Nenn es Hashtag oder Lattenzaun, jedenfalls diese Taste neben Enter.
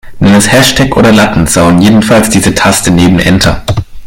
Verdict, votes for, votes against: rejected, 1, 2